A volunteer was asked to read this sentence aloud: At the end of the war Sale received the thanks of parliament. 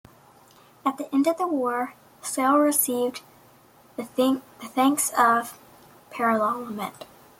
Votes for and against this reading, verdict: 0, 2, rejected